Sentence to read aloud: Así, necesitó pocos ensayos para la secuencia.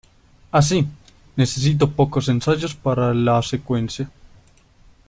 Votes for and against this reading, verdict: 0, 2, rejected